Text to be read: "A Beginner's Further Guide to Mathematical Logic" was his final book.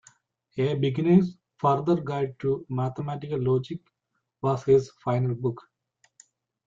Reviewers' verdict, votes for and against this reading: rejected, 1, 2